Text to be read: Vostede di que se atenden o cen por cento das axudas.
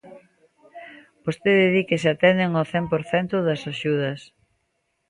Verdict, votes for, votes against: accepted, 2, 1